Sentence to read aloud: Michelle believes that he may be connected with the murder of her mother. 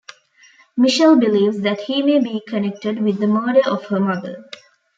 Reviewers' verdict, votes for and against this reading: accepted, 2, 0